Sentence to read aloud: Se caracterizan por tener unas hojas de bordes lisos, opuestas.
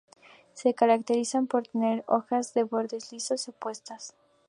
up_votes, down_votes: 0, 2